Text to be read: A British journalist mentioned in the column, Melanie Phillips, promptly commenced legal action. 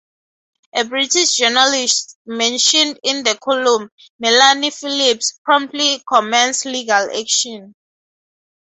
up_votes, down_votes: 4, 2